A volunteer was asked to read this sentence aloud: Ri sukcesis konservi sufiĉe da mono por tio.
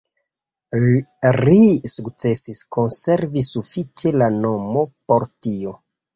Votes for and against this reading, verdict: 1, 2, rejected